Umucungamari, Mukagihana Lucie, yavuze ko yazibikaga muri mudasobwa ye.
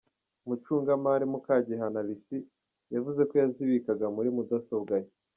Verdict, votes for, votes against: accepted, 2, 0